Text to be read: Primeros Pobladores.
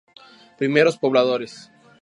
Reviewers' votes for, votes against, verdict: 2, 0, accepted